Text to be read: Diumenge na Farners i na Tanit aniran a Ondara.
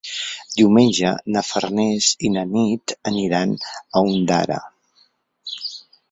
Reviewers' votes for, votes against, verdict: 0, 4, rejected